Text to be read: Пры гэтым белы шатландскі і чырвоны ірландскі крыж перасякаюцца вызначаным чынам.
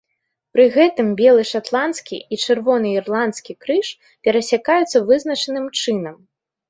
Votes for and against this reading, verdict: 3, 0, accepted